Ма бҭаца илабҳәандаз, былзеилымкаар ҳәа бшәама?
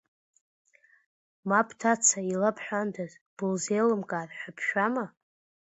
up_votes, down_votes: 2, 0